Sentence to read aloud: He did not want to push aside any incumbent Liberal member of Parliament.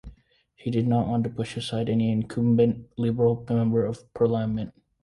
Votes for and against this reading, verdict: 2, 1, accepted